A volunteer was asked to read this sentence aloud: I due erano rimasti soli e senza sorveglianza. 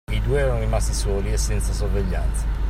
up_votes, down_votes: 2, 0